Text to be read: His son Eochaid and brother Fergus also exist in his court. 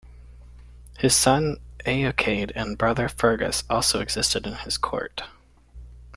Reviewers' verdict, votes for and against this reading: accepted, 2, 1